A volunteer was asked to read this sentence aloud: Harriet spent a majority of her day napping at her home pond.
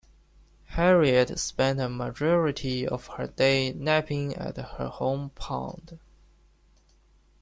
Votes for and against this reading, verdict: 0, 2, rejected